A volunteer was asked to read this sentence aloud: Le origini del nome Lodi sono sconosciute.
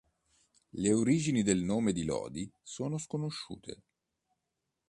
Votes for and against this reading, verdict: 0, 2, rejected